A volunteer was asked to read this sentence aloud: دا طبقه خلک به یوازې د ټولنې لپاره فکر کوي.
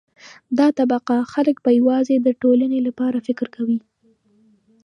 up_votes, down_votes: 2, 0